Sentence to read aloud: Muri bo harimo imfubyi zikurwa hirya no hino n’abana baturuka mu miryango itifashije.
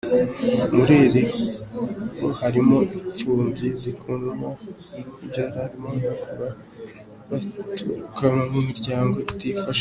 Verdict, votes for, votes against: rejected, 0, 2